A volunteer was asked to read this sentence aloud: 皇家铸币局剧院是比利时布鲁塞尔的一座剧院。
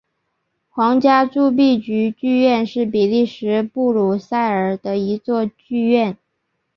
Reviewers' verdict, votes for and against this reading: accepted, 4, 0